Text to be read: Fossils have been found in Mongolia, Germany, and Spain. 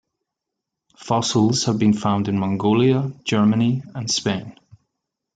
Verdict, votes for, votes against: accepted, 2, 0